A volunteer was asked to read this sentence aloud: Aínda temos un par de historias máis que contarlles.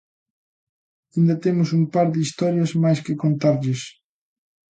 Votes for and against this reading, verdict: 2, 0, accepted